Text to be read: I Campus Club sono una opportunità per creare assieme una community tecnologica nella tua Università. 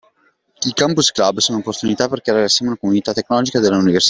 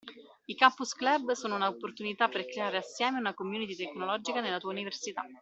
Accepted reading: second